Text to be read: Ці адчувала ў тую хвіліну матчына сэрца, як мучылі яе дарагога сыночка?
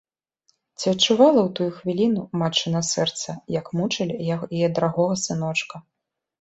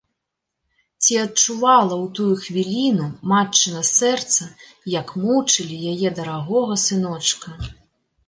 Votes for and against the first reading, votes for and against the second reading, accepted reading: 1, 2, 2, 0, second